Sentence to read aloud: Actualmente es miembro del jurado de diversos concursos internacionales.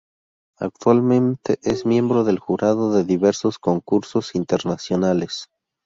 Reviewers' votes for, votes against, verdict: 4, 0, accepted